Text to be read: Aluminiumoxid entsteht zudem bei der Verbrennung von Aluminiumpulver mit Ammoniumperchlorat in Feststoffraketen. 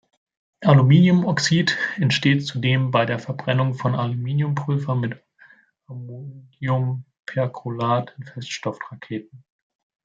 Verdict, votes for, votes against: rejected, 0, 2